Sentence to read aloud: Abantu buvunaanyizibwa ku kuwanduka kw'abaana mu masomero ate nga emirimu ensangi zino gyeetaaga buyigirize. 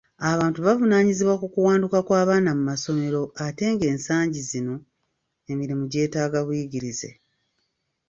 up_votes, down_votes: 1, 2